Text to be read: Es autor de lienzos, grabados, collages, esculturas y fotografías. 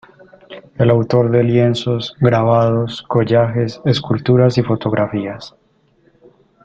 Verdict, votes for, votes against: rejected, 0, 2